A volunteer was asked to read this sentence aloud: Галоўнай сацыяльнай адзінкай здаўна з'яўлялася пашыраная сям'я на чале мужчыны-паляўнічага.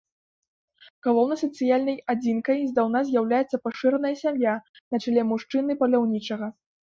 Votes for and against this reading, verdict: 2, 1, accepted